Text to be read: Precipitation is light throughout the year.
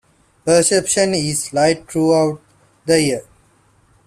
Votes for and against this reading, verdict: 0, 2, rejected